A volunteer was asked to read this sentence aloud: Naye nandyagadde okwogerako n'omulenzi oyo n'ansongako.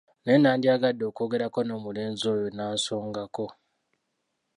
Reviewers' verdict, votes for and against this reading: rejected, 1, 2